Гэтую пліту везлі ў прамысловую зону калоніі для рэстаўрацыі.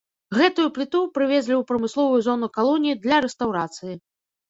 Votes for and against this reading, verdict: 1, 2, rejected